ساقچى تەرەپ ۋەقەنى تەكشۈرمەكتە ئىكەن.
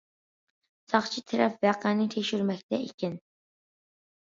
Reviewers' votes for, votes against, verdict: 2, 0, accepted